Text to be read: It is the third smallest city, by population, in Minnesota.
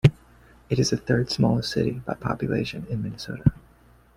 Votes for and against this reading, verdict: 2, 0, accepted